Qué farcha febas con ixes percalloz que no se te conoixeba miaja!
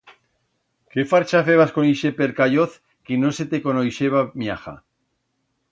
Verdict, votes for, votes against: rejected, 1, 2